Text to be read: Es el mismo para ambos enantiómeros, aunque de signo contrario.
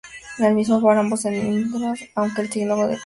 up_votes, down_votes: 0, 2